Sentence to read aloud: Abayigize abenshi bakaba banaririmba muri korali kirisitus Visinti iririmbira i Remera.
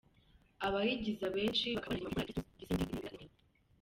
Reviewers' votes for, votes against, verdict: 0, 2, rejected